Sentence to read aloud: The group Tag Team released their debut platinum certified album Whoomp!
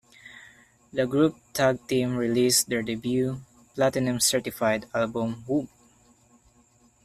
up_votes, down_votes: 0, 2